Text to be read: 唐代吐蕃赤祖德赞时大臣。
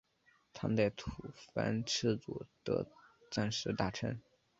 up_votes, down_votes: 3, 0